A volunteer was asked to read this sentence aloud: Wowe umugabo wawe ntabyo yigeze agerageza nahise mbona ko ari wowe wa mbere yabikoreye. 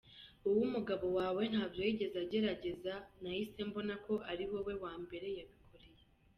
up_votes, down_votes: 3, 0